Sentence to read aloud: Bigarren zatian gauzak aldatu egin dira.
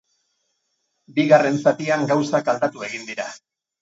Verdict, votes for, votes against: rejected, 2, 2